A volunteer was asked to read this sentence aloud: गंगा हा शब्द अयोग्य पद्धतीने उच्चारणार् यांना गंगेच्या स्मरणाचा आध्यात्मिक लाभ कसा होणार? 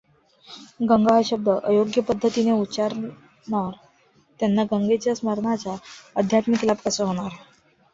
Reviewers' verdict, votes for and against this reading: rejected, 1, 2